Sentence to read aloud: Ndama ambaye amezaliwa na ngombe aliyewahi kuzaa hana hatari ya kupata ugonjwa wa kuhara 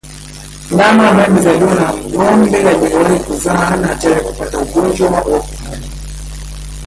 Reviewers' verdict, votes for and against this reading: rejected, 0, 2